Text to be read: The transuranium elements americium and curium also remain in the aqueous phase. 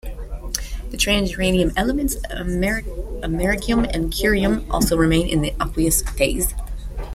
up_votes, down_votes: 0, 2